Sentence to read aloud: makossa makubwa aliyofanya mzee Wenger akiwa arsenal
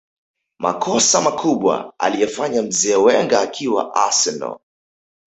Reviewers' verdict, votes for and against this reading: rejected, 2, 3